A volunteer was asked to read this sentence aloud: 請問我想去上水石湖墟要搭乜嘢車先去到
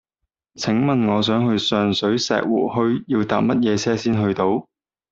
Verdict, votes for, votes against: accepted, 2, 0